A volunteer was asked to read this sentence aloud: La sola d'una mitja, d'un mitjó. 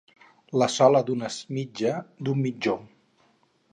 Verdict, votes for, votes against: rejected, 0, 4